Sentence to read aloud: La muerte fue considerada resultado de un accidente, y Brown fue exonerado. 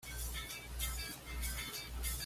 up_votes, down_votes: 1, 2